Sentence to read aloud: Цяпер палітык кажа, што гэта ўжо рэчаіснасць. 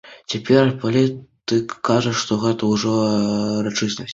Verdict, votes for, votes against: rejected, 0, 2